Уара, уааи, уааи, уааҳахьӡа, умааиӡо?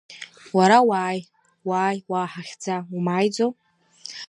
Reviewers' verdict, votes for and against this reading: rejected, 1, 2